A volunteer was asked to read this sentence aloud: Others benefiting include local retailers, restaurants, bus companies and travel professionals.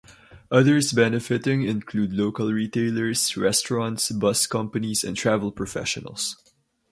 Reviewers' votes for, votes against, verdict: 2, 0, accepted